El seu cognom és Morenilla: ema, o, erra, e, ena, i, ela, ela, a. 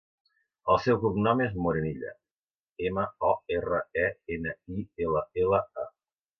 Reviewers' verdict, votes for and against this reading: accepted, 2, 0